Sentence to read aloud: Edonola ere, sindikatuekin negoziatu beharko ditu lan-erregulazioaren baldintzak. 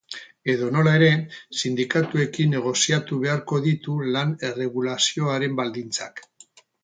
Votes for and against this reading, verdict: 2, 2, rejected